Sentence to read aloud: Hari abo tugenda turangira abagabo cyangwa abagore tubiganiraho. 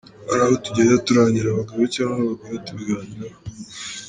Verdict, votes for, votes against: rejected, 1, 2